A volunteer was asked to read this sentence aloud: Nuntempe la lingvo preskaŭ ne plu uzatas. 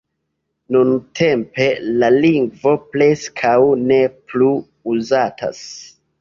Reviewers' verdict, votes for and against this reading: rejected, 1, 2